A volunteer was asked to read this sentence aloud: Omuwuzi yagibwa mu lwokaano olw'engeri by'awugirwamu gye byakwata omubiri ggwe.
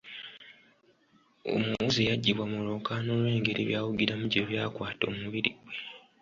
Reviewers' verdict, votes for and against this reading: rejected, 1, 2